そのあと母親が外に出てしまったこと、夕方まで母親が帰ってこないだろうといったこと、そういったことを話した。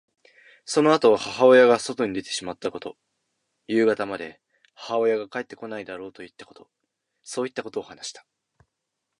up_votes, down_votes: 2, 0